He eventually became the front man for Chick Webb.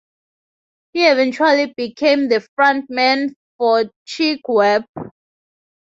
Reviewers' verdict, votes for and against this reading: accepted, 2, 0